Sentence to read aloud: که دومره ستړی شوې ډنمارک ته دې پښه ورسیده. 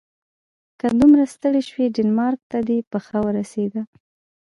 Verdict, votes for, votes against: accepted, 2, 0